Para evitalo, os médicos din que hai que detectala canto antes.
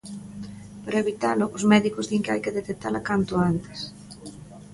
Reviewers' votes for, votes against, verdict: 2, 0, accepted